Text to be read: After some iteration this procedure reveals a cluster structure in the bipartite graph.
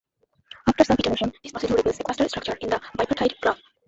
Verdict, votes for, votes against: rejected, 0, 2